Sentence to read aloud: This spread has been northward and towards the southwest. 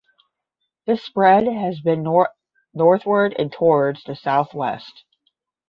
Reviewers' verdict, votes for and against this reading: rejected, 0, 10